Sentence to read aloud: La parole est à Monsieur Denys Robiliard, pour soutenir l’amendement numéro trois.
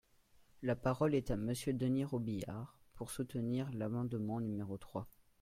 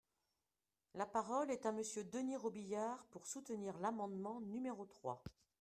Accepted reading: first